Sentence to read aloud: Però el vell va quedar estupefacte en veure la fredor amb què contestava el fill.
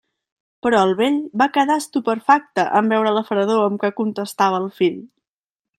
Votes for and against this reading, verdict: 0, 2, rejected